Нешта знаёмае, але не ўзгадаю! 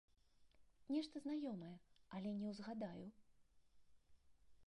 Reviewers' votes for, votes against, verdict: 2, 1, accepted